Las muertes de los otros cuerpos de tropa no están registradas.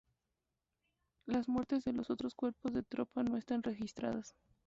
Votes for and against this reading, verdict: 2, 0, accepted